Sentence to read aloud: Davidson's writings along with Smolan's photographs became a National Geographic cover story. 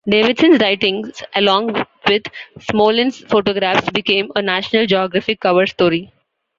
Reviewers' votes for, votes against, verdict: 2, 0, accepted